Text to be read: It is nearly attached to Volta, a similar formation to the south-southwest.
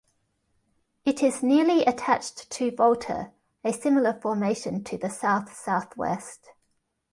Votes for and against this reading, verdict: 2, 0, accepted